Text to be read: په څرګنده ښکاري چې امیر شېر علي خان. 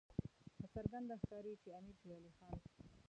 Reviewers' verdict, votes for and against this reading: rejected, 1, 2